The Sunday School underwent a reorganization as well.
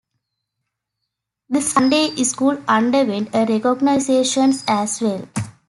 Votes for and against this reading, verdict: 0, 2, rejected